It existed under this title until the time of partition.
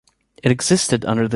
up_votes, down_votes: 0, 2